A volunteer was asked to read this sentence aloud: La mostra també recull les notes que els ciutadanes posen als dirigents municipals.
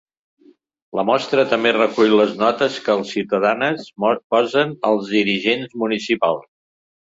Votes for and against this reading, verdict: 1, 2, rejected